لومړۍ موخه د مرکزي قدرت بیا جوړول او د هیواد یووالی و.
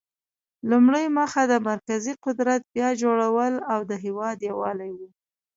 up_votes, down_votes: 1, 2